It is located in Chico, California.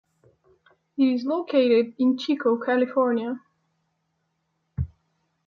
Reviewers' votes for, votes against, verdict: 2, 0, accepted